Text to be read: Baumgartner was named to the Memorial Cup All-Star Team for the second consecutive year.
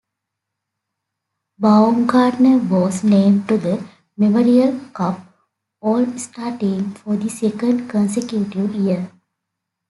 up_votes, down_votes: 2, 0